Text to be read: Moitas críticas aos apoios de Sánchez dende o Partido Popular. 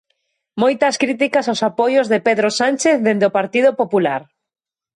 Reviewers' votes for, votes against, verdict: 0, 2, rejected